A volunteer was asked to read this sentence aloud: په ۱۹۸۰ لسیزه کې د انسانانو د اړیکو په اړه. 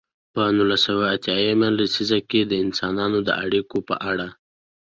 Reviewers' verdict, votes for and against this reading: rejected, 0, 2